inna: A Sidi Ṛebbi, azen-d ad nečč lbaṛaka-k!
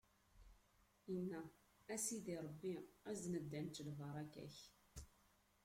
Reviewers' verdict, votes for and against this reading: accepted, 2, 0